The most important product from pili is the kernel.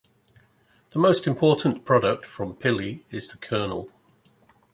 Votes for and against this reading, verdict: 2, 0, accepted